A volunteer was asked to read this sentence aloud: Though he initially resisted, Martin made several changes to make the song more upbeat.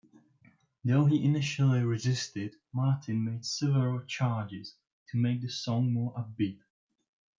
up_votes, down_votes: 1, 2